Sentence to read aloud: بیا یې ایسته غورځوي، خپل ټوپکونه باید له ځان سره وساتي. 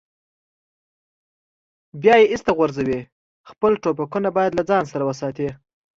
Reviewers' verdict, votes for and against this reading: accepted, 2, 0